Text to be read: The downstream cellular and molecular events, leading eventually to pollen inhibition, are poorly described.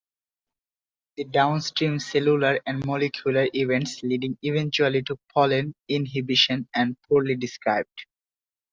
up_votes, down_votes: 0, 2